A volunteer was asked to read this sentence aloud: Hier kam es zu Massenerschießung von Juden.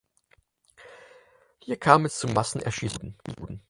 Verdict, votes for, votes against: rejected, 0, 4